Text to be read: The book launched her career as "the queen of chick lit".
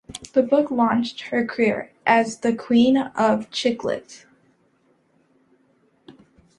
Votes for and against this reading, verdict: 2, 0, accepted